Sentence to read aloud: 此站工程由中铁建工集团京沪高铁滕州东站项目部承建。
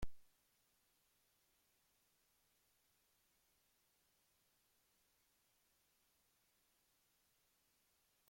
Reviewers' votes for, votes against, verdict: 0, 2, rejected